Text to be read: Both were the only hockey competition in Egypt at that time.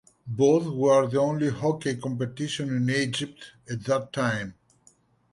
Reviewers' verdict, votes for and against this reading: accepted, 2, 0